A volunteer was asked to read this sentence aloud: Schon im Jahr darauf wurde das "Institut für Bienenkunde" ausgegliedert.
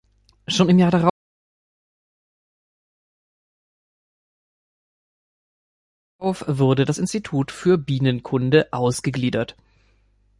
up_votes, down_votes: 0, 2